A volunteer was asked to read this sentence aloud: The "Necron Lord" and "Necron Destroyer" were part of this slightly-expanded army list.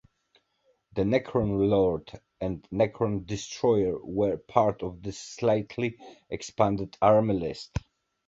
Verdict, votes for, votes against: accepted, 2, 1